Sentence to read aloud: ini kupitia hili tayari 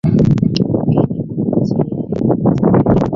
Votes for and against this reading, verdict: 0, 3, rejected